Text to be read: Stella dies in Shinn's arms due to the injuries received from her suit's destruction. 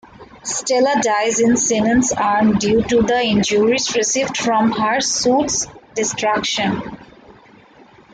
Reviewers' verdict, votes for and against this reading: rejected, 0, 2